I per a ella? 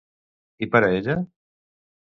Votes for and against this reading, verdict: 2, 0, accepted